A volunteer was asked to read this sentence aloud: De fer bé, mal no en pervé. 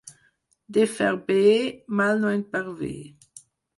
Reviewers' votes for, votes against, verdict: 4, 0, accepted